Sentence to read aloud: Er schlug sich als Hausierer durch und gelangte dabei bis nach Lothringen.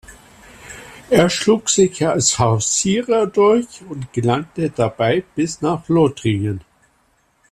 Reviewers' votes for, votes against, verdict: 2, 0, accepted